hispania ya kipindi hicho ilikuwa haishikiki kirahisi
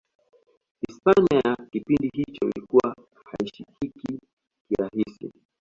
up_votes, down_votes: 0, 2